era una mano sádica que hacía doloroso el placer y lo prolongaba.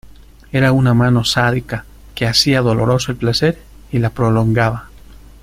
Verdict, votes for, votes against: rejected, 1, 2